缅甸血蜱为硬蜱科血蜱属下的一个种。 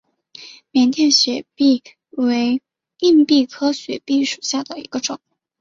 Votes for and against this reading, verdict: 6, 1, accepted